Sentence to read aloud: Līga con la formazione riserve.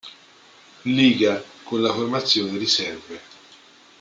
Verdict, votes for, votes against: accepted, 2, 0